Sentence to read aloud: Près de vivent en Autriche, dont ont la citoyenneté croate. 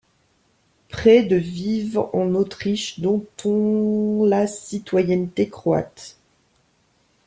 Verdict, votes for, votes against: rejected, 1, 2